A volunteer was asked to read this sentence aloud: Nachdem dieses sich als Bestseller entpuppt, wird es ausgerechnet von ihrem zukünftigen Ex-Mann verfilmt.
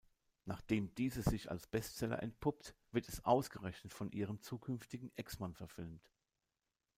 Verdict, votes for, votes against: accepted, 2, 0